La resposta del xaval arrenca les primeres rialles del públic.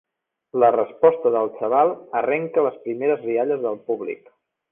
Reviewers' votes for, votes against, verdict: 3, 0, accepted